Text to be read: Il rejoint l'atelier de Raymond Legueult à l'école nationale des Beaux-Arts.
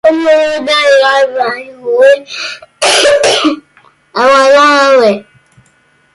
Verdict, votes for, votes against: rejected, 0, 2